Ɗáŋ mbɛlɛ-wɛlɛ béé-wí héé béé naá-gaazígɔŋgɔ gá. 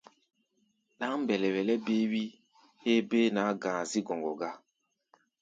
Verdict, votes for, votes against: accepted, 2, 0